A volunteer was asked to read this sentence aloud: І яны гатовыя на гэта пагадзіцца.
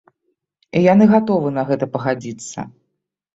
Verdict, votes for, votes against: rejected, 1, 2